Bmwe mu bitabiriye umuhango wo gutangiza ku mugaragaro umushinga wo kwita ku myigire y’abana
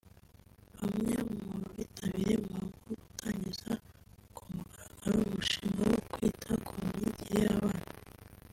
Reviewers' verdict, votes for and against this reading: accepted, 2, 1